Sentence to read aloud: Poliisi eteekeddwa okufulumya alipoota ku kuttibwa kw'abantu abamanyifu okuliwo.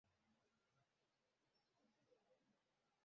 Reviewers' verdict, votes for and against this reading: rejected, 0, 2